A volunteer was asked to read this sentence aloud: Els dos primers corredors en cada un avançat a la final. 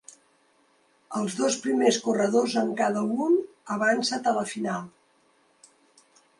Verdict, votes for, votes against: rejected, 0, 2